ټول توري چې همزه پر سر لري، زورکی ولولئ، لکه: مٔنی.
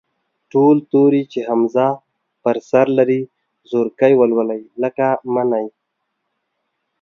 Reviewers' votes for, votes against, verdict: 2, 0, accepted